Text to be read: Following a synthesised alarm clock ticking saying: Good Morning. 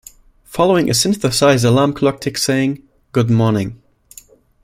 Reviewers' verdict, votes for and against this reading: rejected, 1, 2